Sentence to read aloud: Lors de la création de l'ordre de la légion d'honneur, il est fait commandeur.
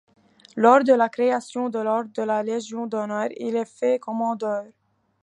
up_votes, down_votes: 2, 0